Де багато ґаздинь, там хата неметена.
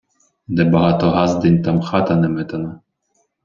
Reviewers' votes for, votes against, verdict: 0, 2, rejected